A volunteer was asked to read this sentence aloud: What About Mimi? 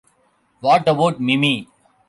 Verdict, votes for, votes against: accepted, 2, 0